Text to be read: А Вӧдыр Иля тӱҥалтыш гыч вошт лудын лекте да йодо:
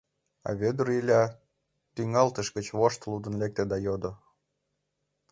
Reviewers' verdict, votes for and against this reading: accepted, 2, 0